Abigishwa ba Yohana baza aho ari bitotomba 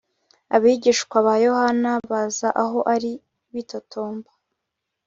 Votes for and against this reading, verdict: 2, 0, accepted